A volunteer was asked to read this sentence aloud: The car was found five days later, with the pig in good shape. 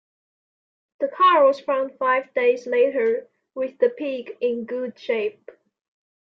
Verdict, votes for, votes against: accepted, 2, 0